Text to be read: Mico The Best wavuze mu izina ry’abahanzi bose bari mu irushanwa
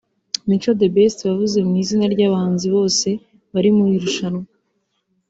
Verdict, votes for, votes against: accepted, 2, 0